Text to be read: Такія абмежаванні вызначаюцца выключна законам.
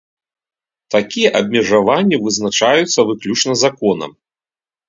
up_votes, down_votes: 2, 0